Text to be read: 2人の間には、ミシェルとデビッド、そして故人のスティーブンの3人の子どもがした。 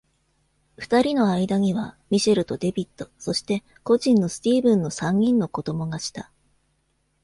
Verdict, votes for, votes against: rejected, 0, 2